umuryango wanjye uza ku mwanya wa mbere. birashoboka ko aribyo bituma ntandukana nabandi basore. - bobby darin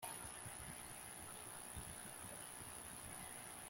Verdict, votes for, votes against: rejected, 0, 2